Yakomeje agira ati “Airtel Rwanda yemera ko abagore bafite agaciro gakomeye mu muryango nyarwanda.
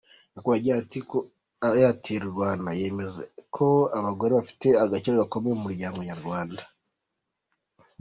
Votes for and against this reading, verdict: 1, 2, rejected